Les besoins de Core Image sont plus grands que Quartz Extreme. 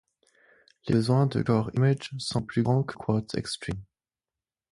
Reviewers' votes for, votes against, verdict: 2, 4, rejected